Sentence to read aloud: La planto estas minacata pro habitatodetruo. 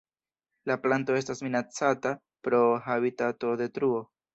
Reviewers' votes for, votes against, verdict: 1, 2, rejected